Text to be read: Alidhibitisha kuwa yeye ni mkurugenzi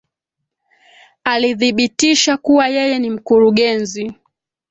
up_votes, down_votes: 2, 1